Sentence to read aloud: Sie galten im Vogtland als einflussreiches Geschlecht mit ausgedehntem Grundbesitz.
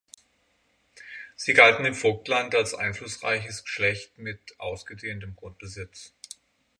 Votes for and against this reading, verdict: 6, 0, accepted